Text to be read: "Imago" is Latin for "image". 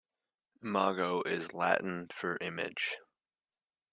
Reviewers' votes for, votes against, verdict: 1, 2, rejected